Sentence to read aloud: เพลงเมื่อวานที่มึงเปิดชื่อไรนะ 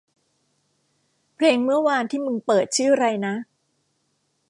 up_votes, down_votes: 2, 0